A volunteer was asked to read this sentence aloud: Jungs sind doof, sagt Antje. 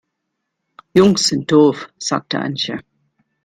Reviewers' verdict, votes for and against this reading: rejected, 1, 2